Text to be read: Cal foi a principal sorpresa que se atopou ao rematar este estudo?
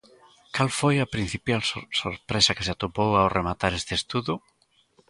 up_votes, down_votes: 0, 3